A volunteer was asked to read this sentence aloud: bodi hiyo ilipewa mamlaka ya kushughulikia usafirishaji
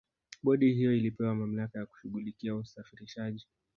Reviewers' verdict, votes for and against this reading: accepted, 2, 0